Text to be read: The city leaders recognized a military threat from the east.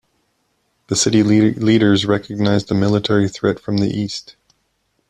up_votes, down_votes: 0, 2